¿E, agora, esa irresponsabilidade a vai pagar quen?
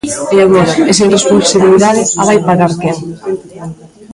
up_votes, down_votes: 0, 2